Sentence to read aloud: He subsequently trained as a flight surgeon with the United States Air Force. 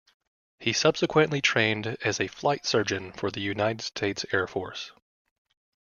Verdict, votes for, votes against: rejected, 1, 2